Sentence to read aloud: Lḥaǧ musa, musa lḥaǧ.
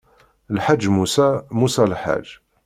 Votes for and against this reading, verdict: 2, 0, accepted